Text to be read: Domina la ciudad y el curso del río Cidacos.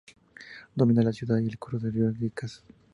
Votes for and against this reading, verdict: 0, 2, rejected